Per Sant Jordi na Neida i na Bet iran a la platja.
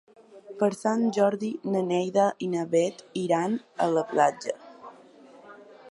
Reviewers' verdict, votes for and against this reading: accepted, 3, 1